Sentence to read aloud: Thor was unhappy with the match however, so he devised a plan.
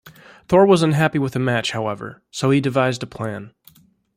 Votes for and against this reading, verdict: 2, 0, accepted